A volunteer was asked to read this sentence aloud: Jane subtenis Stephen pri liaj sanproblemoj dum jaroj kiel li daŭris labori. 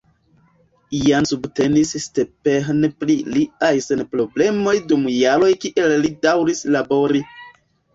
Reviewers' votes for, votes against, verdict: 1, 2, rejected